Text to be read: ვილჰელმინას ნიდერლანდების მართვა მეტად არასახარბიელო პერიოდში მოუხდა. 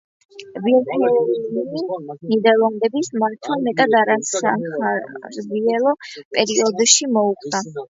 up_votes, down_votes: 0, 2